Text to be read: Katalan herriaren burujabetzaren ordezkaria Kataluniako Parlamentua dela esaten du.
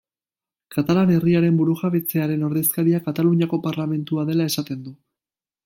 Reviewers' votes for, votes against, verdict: 1, 2, rejected